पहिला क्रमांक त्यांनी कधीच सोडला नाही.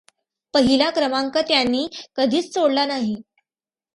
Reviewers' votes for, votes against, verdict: 2, 0, accepted